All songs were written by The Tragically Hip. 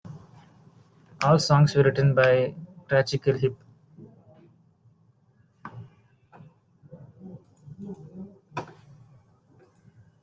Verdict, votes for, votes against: rejected, 2, 3